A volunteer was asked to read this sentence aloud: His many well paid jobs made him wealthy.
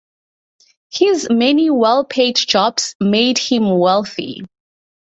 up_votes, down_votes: 2, 0